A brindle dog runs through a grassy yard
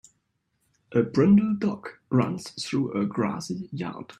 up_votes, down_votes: 2, 0